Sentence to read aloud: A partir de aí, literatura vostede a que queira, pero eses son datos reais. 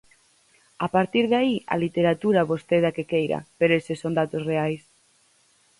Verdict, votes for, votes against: rejected, 0, 4